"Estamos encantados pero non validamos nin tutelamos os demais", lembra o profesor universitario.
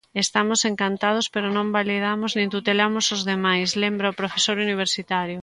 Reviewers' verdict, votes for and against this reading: accepted, 2, 0